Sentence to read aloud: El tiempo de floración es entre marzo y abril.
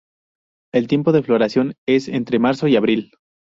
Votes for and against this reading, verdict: 2, 0, accepted